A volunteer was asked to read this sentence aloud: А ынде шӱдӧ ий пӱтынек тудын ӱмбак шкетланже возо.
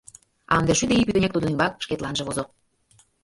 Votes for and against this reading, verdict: 1, 2, rejected